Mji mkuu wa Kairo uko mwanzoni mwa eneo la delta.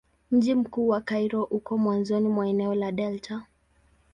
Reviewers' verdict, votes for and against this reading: accepted, 11, 1